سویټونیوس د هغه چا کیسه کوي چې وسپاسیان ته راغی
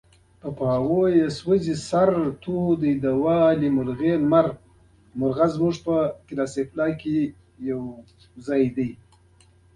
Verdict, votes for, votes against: rejected, 0, 2